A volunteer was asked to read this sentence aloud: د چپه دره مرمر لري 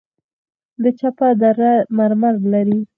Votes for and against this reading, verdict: 4, 2, accepted